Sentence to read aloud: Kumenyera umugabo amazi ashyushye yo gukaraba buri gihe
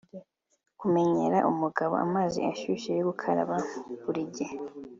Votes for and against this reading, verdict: 2, 0, accepted